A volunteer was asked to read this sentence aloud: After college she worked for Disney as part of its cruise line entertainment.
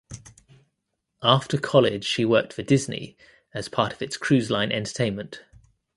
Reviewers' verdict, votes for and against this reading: rejected, 0, 2